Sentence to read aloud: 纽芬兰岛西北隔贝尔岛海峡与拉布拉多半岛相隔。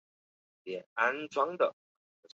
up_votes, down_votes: 0, 2